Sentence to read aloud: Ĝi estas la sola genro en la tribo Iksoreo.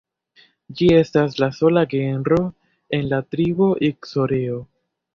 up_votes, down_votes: 1, 2